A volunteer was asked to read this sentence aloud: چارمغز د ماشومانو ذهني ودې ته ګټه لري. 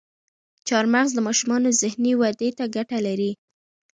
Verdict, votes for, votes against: rejected, 1, 2